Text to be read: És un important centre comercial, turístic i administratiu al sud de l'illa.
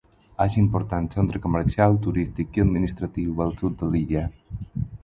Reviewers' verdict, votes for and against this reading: accepted, 4, 0